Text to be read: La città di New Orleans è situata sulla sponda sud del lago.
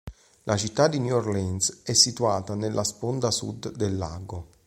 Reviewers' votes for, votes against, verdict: 0, 3, rejected